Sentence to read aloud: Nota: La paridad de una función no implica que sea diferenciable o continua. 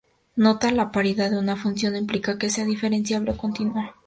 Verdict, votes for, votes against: rejected, 0, 2